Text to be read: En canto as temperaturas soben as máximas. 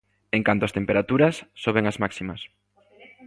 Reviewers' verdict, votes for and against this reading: accepted, 2, 0